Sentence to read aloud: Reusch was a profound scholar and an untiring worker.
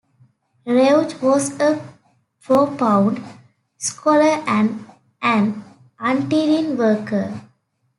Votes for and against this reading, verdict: 0, 2, rejected